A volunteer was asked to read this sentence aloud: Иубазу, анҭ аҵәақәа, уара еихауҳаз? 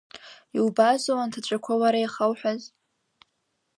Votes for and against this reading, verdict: 1, 2, rejected